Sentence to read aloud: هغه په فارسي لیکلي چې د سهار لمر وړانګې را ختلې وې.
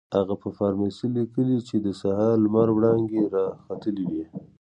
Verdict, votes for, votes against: rejected, 1, 2